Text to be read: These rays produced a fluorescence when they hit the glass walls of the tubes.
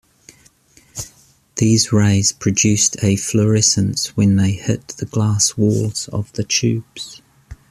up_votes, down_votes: 2, 0